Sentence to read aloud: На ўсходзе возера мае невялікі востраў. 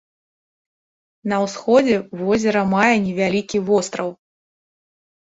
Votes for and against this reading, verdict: 3, 0, accepted